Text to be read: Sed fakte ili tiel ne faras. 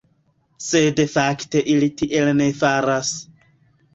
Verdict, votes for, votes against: rejected, 1, 2